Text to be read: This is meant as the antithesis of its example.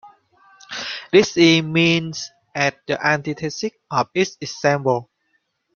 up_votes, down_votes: 0, 2